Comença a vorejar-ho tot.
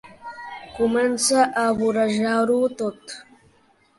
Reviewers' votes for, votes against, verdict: 3, 0, accepted